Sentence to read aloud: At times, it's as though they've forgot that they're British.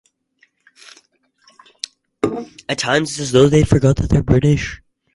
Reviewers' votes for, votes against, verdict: 2, 2, rejected